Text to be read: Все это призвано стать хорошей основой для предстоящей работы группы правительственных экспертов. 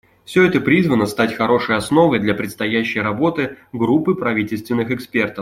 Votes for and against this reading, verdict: 2, 0, accepted